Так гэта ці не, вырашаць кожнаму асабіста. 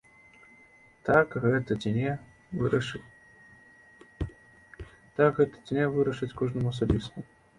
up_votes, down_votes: 0, 2